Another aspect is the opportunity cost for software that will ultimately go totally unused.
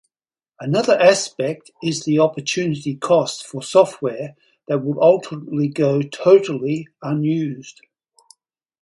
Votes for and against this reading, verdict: 4, 0, accepted